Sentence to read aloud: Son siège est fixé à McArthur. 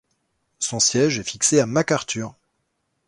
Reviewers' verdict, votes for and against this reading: accepted, 2, 0